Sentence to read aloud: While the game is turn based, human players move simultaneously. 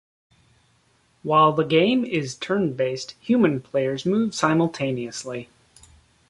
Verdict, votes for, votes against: accepted, 2, 0